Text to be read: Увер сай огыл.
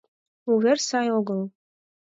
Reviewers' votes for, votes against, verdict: 4, 0, accepted